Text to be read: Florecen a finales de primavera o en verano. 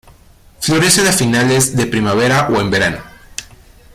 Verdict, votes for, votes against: rejected, 1, 2